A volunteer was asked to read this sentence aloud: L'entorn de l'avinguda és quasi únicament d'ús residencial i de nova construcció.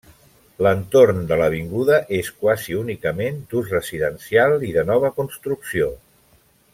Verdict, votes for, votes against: accepted, 3, 0